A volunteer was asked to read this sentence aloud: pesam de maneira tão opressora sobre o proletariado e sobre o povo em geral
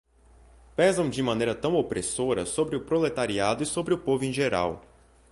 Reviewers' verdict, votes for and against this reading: accepted, 2, 0